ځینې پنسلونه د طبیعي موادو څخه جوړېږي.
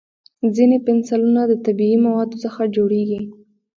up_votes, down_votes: 1, 2